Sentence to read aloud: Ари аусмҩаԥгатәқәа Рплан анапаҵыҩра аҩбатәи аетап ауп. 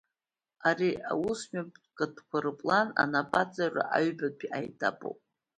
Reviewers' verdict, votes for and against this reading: rejected, 1, 2